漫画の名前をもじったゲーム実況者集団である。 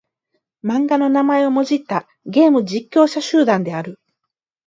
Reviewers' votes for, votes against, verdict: 4, 4, rejected